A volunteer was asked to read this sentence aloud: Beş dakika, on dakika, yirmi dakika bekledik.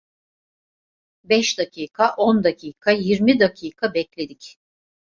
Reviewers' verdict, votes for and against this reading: accepted, 2, 0